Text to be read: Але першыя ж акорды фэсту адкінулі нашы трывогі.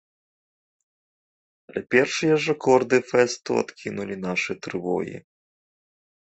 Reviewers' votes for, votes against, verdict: 1, 2, rejected